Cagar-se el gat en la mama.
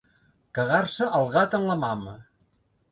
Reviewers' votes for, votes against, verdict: 2, 0, accepted